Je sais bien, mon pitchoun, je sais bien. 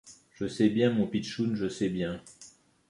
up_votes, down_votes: 3, 0